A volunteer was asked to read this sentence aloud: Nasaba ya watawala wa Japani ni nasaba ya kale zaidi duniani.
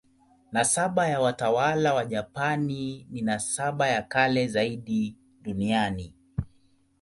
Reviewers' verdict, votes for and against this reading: accepted, 2, 0